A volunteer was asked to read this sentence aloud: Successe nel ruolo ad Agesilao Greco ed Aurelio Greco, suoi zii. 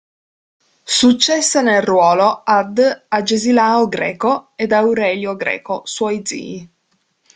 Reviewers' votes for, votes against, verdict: 2, 0, accepted